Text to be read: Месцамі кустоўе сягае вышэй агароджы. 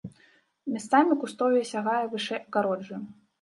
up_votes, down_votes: 1, 3